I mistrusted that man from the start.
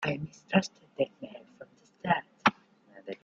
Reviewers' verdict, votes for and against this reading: rejected, 0, 2